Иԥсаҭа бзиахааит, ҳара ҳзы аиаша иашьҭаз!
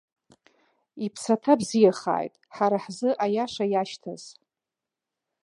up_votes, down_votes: 2, 0